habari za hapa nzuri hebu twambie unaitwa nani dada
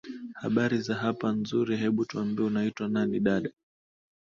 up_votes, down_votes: 2, 0